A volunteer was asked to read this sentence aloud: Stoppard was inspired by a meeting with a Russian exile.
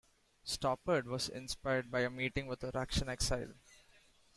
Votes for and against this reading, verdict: 2, 3, rejected